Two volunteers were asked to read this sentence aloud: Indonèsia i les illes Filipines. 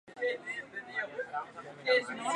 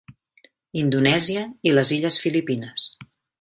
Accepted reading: second